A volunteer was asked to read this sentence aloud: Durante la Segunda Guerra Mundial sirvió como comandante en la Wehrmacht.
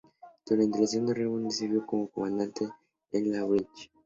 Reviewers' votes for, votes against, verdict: 0, 2, rejected